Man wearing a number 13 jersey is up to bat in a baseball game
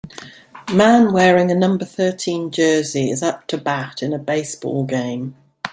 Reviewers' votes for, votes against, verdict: 0, 2, rejected